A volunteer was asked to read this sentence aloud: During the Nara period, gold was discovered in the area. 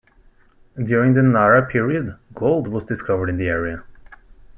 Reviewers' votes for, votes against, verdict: 2, 0, accepted